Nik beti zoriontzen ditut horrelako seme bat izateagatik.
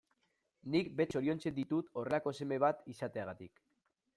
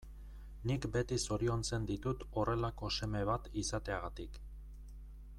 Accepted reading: second